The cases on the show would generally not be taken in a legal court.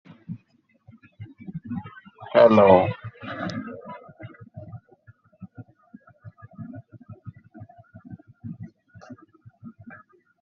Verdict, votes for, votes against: rejected, 0, 2